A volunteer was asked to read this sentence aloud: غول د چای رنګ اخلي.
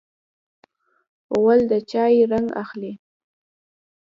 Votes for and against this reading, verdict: 1, 2, rejected